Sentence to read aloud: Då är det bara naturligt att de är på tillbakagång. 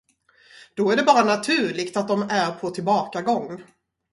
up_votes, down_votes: 2, 4